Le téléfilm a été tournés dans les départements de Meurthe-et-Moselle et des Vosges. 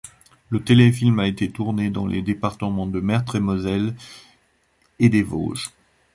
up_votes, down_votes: 0, 2